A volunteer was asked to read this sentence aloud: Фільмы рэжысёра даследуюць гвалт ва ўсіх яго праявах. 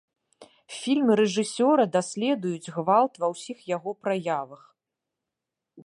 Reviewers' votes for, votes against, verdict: 2, 0, accepted